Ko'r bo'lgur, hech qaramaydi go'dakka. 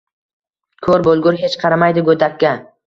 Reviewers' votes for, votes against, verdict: 2, 0, accepted